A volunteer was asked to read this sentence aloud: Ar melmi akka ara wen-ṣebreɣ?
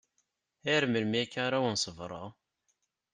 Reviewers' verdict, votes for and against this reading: accepted, 2, 0